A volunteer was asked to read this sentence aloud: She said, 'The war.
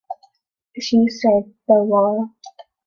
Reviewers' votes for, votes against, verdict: 2, 0, accepted